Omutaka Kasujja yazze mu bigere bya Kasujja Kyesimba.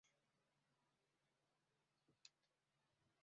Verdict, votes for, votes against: rejected, 1, 2